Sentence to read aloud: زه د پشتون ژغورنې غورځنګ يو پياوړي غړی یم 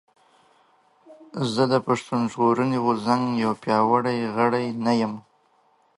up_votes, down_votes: 0, 2